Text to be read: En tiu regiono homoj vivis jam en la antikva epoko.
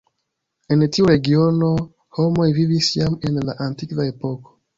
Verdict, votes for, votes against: accepted, 2, 0